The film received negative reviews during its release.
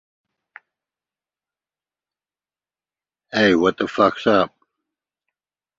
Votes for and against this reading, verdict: 0, 2, rejected